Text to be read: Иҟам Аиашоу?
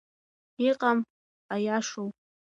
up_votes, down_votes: 2, 0